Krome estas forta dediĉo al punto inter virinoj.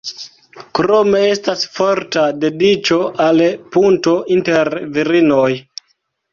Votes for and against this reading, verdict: 0, 2, rejected